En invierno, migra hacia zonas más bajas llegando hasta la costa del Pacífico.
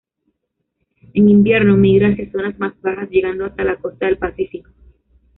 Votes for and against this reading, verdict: 1, 2, rejected